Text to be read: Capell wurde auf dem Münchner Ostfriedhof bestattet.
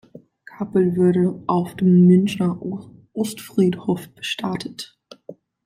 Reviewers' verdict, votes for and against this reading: rejected, 0, 2